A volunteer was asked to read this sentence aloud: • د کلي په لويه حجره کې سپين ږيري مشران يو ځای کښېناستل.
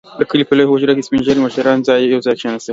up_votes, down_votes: 2, 0